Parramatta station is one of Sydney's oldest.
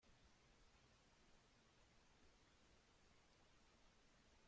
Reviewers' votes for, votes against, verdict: 0, 2, rejected